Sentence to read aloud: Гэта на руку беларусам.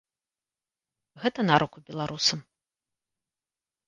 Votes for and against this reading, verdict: 2, 0, accepted